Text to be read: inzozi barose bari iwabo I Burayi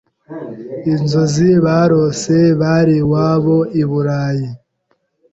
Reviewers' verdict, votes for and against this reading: accepted, 2, 0